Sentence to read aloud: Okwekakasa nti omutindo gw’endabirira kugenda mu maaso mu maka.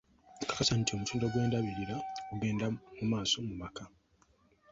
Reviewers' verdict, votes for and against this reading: accepted, 2, 0